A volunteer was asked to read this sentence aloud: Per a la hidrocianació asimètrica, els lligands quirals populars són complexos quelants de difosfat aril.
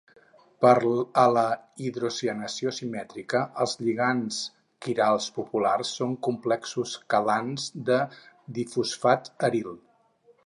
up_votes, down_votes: 0, 4